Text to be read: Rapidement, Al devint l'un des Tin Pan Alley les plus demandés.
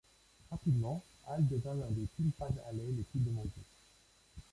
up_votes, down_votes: 0, 2